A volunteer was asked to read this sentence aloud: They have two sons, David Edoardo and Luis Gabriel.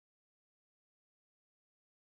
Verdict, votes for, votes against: rejected, 0, 2